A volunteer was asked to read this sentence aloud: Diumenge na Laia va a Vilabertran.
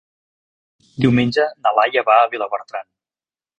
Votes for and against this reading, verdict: 1, 2, rejected